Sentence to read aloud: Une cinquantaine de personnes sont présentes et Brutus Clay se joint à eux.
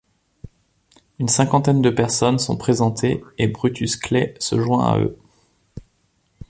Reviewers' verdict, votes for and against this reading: rejected, 0, 2